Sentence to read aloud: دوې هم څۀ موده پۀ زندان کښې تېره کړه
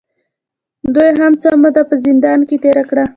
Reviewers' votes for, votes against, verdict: 2, 0, accepted